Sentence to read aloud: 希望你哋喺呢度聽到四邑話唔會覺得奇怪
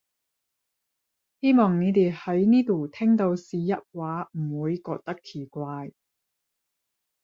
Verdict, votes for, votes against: rejected, 0, 10